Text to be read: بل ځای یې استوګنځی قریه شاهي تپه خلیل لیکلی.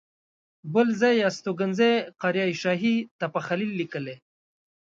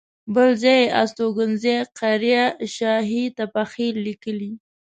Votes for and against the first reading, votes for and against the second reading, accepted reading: 2, 0, 1, 2, first